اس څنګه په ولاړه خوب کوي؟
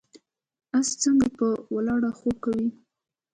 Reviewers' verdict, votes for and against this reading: accepted, 2, 1